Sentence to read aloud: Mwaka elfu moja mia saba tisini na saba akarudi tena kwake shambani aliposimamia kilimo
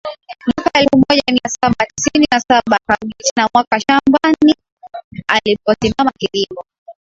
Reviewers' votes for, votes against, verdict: 0, 2, rejected